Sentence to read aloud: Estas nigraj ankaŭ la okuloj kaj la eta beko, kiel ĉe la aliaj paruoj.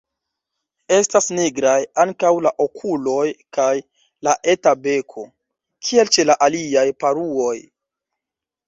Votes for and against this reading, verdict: 0, 2, rejected